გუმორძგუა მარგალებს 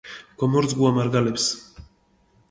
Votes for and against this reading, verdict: 0, 2, rejected